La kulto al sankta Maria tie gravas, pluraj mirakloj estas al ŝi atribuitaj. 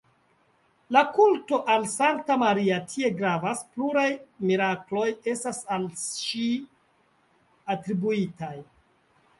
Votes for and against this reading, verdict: 2, 0, accepted